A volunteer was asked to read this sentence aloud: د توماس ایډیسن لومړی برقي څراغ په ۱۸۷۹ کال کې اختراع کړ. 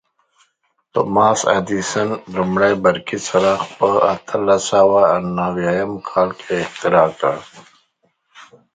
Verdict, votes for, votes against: rejected, 0, 2